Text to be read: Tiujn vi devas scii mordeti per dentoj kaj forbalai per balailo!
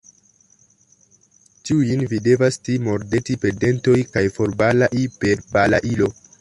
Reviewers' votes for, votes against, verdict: 0, 2, rejected